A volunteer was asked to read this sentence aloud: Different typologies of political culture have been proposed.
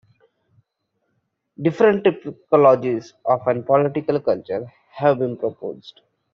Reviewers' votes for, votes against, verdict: 0, 2, rejected